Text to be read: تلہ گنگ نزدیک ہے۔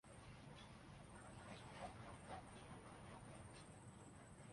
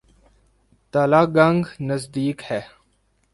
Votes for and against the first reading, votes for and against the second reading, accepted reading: 1, 2, 2, 0, second